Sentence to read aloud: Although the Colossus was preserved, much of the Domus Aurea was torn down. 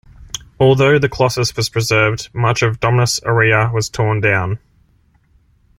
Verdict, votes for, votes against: accepted, 2, 1